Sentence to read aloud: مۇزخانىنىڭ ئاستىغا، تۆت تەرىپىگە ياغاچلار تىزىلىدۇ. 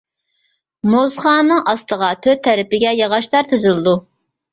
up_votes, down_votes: 1, 2